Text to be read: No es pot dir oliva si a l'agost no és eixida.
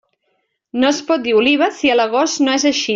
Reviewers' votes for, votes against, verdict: 0, 2, rejected